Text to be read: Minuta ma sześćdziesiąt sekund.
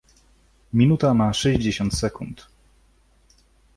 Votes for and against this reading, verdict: 2, 0, accepted